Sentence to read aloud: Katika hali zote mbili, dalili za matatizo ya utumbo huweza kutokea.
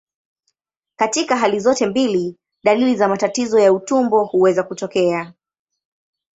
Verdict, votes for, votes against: accepted, 17, 0